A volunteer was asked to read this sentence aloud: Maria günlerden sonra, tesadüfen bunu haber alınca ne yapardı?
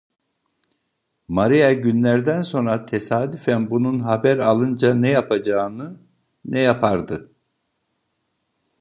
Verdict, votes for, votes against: rejected, 0, 2